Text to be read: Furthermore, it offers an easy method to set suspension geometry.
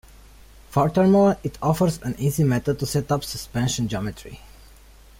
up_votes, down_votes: 2, 0